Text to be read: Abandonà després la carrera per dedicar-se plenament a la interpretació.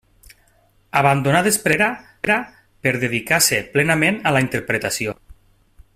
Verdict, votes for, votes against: rejected, 0, 2